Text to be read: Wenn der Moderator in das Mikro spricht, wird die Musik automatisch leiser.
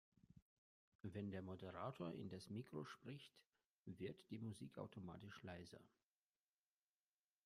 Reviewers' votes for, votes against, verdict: 1, 2, rejected